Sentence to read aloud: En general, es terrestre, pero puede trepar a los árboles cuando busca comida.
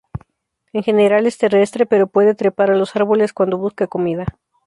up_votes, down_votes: 2, 0